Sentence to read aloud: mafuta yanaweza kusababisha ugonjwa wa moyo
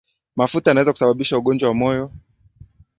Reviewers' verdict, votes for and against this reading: accepted, 2, 0